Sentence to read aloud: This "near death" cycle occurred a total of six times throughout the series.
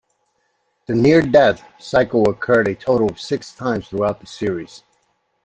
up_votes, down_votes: 0, 2